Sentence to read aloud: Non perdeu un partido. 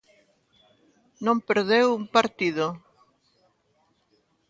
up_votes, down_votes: 2, 0